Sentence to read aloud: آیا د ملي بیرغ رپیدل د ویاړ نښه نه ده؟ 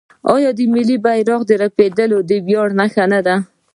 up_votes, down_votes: 1, 2